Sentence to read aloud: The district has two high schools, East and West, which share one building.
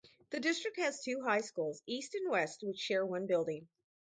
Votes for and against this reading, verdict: 2, 2, rejected